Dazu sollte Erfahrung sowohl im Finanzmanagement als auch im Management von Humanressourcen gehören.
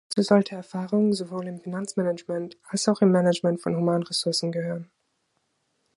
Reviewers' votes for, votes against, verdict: 0, 2, rejected